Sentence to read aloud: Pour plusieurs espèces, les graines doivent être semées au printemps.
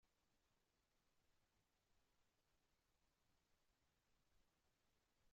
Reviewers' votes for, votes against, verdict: 1, 2, rejected